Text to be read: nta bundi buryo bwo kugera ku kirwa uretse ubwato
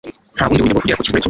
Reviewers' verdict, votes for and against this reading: rejected, 1, 2